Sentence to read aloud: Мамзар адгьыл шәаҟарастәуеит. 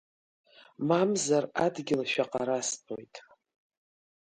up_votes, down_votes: 3, 0